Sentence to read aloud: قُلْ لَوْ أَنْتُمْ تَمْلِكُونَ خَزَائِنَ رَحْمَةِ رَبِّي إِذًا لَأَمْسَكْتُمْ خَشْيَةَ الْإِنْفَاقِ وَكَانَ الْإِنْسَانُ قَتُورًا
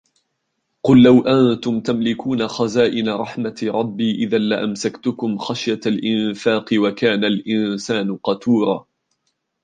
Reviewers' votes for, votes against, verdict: 1, 3, rejected